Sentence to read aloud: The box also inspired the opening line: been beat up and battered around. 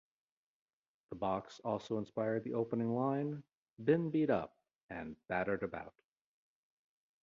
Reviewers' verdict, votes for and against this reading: rejected, 1, 2